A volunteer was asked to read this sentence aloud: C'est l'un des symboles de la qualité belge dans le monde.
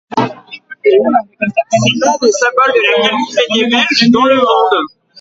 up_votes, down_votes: 0, 2